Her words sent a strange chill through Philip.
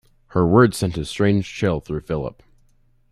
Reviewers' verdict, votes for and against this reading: accepted, 2, 0